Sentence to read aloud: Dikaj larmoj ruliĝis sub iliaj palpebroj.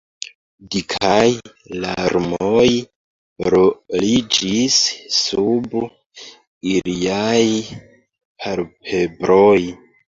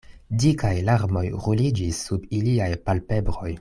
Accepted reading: second